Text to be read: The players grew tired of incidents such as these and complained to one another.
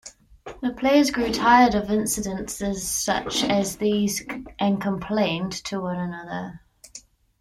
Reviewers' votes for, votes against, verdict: 1, 2, rejected